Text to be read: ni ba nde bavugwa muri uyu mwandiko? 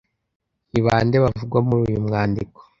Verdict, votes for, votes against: accepted, 2, 0